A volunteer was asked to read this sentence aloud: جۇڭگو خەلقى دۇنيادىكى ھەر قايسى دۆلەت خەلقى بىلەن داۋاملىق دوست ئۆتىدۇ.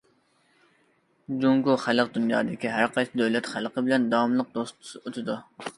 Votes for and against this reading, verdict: 0, 2, rejected